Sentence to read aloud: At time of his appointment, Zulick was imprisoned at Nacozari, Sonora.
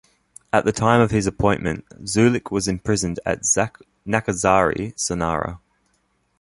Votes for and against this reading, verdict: 1, 3, rejected